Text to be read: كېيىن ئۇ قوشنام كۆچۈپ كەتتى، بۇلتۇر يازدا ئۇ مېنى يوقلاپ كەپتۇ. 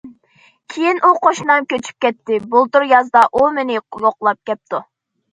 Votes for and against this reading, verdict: 2, 0, accepted